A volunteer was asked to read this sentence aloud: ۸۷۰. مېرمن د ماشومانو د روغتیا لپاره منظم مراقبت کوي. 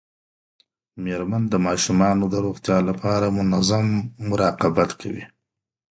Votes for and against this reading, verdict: 0, 2, rejected